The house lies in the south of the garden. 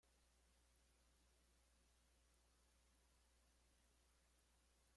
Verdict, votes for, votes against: rejected, 0, 2